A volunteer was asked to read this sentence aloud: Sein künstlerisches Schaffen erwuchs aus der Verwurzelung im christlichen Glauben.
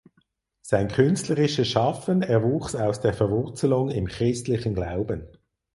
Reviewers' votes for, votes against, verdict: 4, 0, accepted